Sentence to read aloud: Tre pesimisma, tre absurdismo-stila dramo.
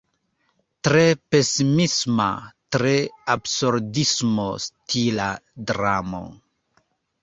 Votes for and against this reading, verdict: 1, 2, rejected